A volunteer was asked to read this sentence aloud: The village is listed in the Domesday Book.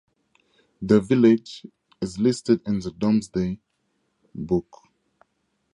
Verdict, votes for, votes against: accepted, 4, 0